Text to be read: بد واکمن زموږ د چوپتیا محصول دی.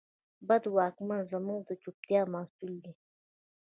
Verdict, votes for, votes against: accepted, 2, 1